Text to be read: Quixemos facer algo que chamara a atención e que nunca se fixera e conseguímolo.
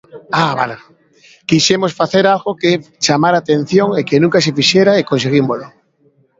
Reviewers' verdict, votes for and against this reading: rejected, 0, 2